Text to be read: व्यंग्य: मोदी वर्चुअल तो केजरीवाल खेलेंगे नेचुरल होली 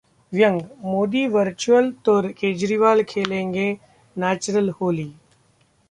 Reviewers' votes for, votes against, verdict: 2, 0, accepted